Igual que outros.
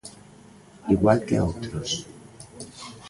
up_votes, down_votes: 0, 2